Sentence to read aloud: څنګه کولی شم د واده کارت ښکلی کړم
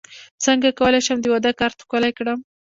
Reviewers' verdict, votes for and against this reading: accepted, 2, 0